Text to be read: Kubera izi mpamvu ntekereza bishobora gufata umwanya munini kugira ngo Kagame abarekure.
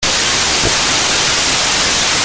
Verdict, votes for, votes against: rejected, 0, 2